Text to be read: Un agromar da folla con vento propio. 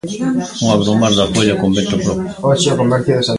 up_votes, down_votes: 0, 2